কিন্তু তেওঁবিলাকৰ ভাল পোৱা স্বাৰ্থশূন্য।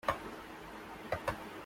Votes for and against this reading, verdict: 0, 2, rejected